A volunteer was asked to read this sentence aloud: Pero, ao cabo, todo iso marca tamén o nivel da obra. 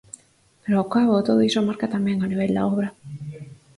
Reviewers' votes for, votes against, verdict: 2, 4, rejected